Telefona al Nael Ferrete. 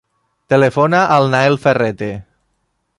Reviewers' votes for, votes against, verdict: 3, 0, accepted